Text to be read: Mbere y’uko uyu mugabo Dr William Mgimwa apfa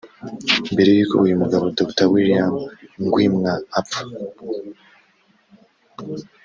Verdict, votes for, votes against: rejected, 0, 2